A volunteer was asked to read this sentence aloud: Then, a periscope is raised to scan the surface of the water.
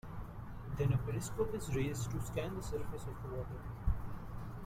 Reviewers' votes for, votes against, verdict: 2, 1, accepted